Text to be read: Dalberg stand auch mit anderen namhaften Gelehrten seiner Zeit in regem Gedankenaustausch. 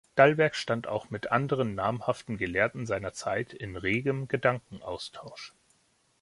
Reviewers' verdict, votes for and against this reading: accepted, 2, 0